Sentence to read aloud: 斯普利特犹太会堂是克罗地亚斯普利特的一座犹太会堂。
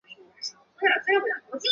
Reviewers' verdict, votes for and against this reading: rejected, 0, 2